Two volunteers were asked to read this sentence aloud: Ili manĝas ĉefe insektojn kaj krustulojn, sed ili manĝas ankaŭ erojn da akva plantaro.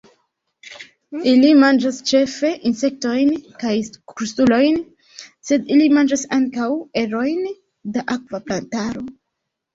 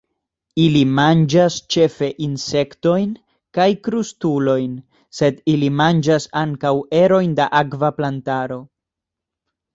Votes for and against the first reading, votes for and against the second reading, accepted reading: 0, 2, 2, 0, second